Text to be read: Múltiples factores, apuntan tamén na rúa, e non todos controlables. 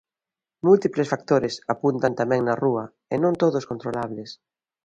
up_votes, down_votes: 2, 0